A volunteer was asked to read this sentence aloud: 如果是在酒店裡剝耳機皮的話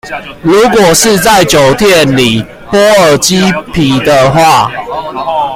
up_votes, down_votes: 2, 0